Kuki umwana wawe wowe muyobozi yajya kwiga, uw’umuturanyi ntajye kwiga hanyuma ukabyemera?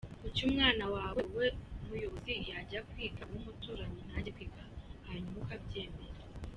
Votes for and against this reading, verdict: 2, 1, accepted